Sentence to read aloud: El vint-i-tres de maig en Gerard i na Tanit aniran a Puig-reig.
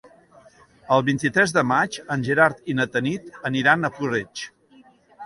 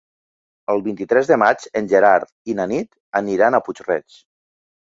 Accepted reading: first